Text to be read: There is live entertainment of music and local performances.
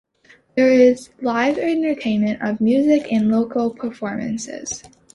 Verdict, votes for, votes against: accepted, 2, 0